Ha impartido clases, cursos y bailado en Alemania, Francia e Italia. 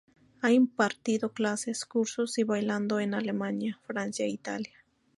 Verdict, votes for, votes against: rejected, 0, 2